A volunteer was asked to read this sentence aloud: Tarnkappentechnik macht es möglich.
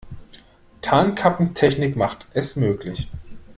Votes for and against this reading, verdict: 2, 0, accepted